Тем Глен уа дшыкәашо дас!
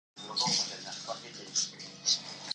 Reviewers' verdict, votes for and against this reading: rejected, 0, 2